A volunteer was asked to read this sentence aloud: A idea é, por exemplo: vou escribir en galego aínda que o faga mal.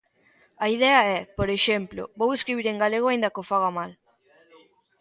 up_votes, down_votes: 2, 0